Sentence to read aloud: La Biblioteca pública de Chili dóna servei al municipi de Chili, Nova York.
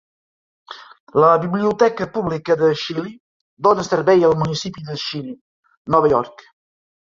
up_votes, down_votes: 2, 0